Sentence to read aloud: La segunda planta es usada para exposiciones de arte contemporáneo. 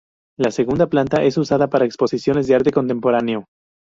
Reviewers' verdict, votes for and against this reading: rejected, 0, 2